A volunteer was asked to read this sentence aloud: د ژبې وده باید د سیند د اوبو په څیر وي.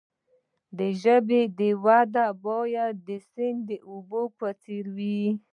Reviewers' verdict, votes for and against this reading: rejected, 1, 2